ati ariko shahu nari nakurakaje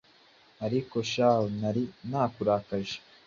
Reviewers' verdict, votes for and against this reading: accepted, 2, 0